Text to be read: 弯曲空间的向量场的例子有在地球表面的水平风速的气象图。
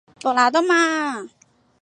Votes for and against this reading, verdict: 0, 3, rejected